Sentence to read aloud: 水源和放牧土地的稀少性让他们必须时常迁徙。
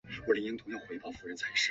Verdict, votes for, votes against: rejected, 0, 2